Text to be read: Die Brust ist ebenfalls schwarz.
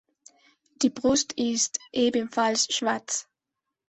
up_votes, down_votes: 2, 0